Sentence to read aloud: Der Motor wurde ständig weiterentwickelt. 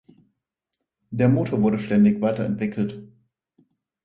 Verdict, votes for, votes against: accepted, 4, 0